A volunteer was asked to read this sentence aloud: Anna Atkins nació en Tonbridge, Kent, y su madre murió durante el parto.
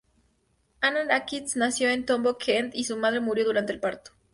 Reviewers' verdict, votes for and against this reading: rejected, 0, 2